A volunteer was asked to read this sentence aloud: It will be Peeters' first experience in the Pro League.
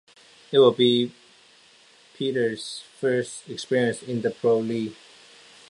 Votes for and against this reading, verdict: 2, 0, accepted